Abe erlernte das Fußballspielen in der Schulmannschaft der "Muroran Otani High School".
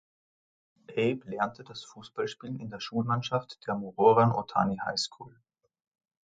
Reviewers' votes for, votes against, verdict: 2, 3, rejected